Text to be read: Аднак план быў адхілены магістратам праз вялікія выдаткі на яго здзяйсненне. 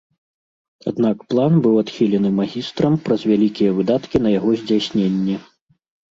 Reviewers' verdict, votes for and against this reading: rejected, 1, 2